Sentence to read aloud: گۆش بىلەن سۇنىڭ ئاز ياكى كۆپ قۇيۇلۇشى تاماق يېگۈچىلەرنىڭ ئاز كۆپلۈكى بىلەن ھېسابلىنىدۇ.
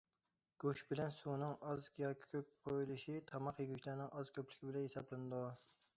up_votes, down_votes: 2, 0